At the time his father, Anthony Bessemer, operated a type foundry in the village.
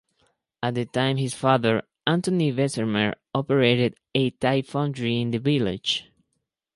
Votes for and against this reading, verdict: 2, 2, rejected